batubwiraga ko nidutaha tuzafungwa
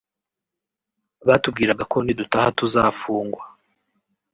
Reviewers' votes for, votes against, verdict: 2, 0, accepted